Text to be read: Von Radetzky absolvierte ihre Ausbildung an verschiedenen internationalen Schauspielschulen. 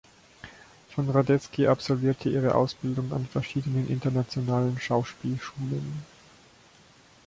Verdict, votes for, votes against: accepted, 3, 0